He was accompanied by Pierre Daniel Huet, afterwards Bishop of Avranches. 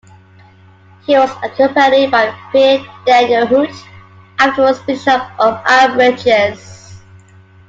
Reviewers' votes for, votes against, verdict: 2, 0, accepted